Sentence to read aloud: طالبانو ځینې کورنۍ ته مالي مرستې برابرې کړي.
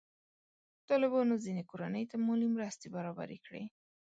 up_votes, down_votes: 1, 2